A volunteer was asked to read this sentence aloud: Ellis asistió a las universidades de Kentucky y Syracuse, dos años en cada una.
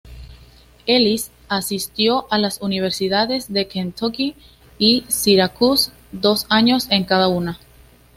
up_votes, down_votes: 2, 0